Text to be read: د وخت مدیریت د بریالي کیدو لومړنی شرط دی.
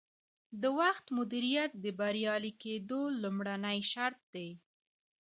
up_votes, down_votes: 0, 2